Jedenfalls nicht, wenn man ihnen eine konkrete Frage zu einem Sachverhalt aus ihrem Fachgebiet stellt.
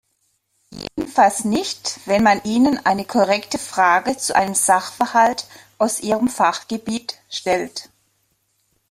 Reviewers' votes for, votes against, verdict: 0, 2, rejected